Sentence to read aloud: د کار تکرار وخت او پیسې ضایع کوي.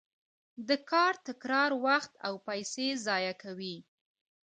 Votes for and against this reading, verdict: 2, 0, accepted